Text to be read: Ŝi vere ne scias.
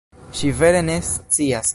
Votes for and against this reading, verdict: 2, 0, accepted